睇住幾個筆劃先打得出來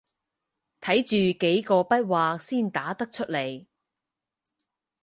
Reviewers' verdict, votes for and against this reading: accepted, 4, 0